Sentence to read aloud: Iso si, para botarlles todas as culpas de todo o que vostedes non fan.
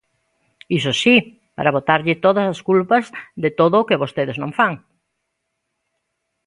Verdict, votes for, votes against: rejected, 1, 2